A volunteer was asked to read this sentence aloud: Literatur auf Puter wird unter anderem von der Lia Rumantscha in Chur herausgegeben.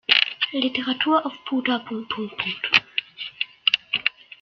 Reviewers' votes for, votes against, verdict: 0, 2, rejected